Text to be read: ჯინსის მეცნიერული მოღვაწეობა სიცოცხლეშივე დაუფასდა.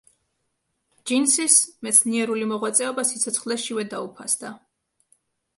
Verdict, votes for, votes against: accepted, 2, 0